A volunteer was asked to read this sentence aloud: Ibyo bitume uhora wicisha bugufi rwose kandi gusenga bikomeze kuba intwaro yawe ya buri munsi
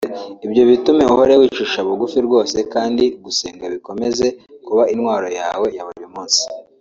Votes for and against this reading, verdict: 0, 2, rejected